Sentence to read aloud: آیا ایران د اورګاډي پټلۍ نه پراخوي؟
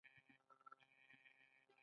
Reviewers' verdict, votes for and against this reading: accepted, 2, 0